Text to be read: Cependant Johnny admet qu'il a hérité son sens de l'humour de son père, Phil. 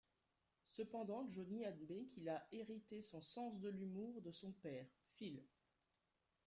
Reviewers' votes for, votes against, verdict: 2, 0, accepted